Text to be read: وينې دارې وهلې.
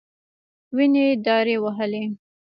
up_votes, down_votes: 1, 2